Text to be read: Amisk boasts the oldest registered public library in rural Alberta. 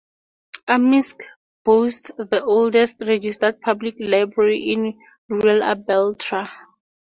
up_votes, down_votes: 0, 4